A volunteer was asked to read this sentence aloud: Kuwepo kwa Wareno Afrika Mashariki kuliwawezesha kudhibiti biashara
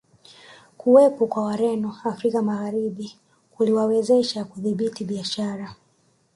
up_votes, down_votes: 1, 2